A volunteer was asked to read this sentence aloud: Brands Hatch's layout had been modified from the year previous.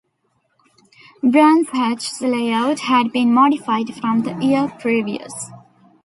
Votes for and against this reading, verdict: 1, 2, rejected